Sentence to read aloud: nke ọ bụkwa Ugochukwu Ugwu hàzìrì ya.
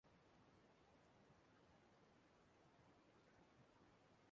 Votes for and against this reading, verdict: 1, 2, rejected